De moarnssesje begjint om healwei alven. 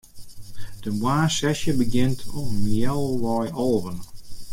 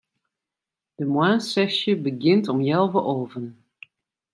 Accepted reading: second